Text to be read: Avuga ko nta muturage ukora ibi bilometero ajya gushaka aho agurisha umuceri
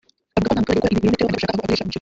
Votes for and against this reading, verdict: 0, 2, rejected